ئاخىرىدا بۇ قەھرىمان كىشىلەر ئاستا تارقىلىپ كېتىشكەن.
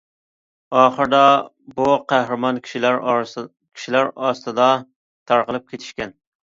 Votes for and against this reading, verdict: 0, 2, rejected